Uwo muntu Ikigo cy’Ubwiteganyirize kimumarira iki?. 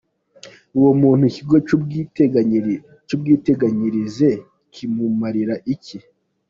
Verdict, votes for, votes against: rejected, 0, 2